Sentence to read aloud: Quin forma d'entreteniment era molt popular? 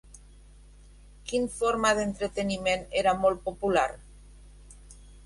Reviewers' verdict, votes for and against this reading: rejected, 0, 2